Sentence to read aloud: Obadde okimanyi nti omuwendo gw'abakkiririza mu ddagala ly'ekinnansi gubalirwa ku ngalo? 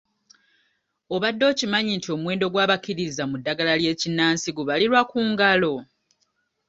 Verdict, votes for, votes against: accepted, 2, 0